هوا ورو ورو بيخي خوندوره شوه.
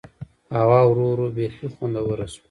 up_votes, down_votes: 1, 2